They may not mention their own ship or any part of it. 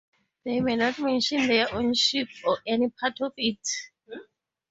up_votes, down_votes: 4, 0